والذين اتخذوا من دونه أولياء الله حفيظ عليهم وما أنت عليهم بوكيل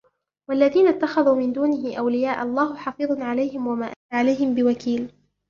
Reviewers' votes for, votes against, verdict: 2, 0, accepted